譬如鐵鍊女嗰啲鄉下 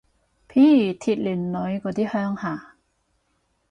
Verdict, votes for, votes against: accepted, 4, 0